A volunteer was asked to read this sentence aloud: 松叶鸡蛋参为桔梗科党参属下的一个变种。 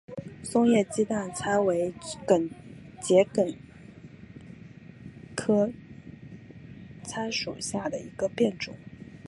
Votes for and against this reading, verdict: 2, 1, accepted